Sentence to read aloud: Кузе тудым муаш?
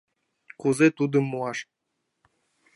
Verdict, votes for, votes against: accepted, 2, 0